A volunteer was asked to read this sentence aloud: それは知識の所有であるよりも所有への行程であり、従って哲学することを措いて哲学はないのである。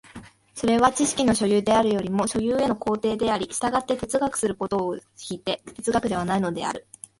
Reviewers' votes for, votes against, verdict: 4, 1, accepted